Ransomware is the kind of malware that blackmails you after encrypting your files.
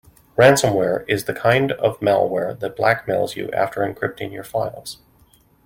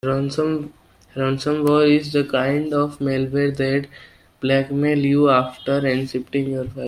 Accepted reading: first